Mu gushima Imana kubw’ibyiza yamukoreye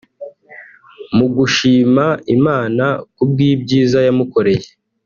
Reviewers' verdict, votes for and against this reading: accepted, 2, 0